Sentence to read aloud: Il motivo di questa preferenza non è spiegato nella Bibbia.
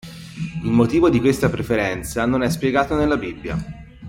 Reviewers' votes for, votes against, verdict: 2, 1, accepted